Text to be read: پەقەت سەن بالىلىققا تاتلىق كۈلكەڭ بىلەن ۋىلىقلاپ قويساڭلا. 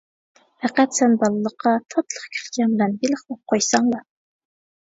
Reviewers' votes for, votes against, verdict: 1, 2, rejected